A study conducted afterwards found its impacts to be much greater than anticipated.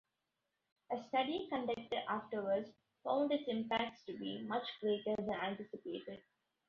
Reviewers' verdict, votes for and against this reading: accepted, 2, 0